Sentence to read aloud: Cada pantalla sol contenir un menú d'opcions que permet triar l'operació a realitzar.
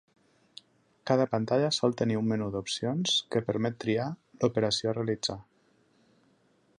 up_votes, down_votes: 0, 2